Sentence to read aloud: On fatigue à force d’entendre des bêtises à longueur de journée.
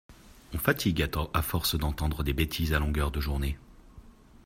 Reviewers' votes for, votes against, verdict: 0, 2, rejected